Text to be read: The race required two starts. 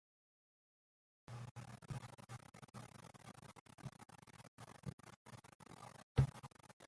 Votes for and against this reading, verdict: 0, 2, rejected